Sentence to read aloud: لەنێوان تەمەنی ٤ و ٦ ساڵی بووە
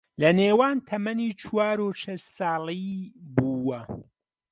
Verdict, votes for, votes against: rejected, 0, 2